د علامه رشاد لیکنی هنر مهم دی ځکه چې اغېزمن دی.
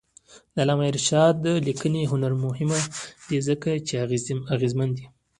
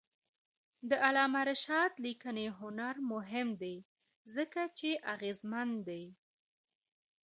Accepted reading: second